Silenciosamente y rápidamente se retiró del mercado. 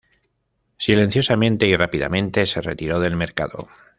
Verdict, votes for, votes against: rejected, 1, 2